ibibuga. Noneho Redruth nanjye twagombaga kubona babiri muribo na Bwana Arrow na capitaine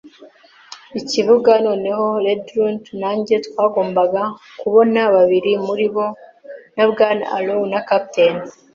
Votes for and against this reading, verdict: 2, 3, rejected